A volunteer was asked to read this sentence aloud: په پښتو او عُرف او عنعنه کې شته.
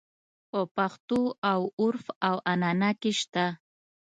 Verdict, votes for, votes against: accepted, 2, 0